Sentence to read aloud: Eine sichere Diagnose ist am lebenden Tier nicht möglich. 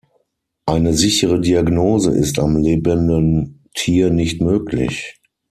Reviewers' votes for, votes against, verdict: 3, 6, rejected